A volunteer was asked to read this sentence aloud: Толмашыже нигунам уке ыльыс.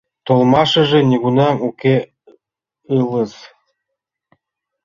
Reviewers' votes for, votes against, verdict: 0, 3, rejected